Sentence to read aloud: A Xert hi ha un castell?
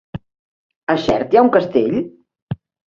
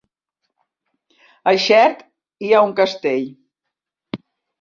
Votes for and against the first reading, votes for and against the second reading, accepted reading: 3, 1, 0, 2, first